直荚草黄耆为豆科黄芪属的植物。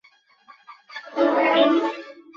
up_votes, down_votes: 1, 2